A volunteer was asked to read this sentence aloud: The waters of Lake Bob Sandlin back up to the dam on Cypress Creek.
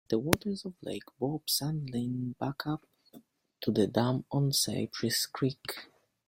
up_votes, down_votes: 1, 2